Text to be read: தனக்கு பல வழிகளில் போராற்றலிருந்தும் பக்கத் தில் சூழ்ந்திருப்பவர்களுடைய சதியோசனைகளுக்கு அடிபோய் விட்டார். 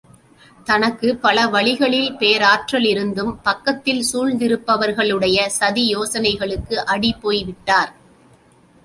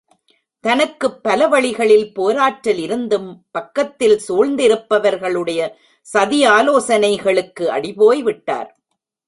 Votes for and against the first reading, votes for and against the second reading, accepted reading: 2, 0, 0, 2, first